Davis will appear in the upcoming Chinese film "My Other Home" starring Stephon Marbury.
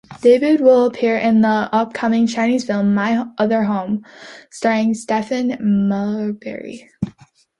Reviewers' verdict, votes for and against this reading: accepted, 2, 0